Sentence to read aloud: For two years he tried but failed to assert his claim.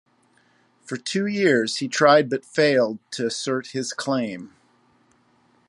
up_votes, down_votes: 2, 0